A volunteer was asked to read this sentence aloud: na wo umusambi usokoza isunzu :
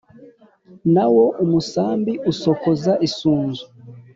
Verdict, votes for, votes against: accepted, 2, 0